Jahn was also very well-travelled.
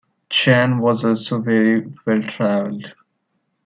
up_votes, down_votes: 2, 1